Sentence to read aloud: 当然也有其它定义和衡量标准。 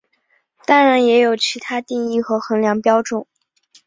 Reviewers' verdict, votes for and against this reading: accepted, 3, 0